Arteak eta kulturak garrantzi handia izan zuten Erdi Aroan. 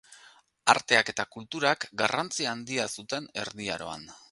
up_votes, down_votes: 0, 2